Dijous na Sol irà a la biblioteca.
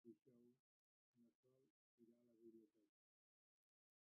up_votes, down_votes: 0, 2